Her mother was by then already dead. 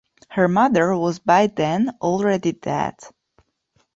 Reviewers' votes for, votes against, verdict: 2, 0, accepted